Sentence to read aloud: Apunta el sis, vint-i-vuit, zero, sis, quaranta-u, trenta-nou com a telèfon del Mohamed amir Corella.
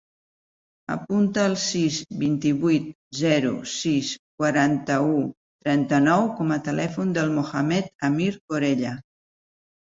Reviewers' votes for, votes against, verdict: 4, 0, accepted